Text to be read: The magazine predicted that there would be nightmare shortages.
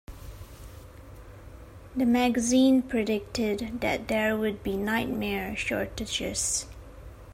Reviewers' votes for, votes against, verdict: 2, 1, accepted